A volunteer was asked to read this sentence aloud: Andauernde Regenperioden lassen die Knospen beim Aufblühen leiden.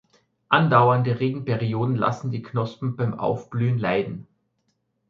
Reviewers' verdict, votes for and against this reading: accepted, 2, 1